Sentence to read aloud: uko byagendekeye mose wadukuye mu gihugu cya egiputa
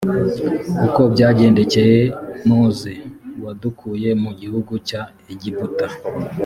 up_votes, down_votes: 2, 0